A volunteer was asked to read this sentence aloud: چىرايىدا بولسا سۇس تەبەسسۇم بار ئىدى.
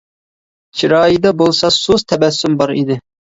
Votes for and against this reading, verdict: 2, 0, accepted